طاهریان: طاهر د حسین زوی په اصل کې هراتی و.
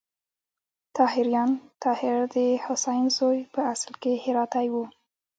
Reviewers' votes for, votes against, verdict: 1, 2, rejected